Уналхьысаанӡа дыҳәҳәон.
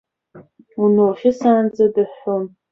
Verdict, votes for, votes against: accepted, 2, 0